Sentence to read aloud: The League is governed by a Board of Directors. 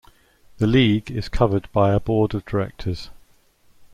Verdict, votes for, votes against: accepted, 2, 0